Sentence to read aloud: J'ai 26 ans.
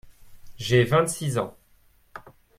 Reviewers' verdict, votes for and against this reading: rejected, 0, 2